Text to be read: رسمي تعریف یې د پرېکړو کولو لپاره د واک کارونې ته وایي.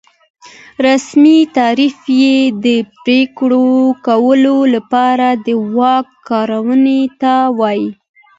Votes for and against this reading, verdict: 2, 1, accepted